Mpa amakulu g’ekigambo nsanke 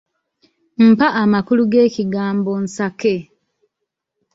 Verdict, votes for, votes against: rejected, 0, 2